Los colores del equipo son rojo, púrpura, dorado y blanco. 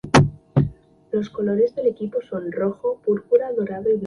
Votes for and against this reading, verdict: 0, 4, rejected